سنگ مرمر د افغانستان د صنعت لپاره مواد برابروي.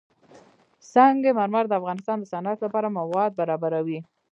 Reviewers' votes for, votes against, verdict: 2, 0, accepted